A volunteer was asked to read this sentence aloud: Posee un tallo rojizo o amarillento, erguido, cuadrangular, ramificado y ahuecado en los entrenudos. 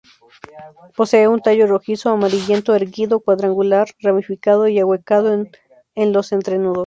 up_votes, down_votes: 0, 2